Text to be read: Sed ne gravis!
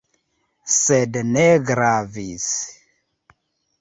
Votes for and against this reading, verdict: 3, 0, accepted